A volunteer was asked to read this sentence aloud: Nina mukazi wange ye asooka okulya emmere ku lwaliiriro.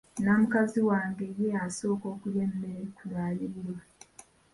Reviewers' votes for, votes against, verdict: 1, 2, rejected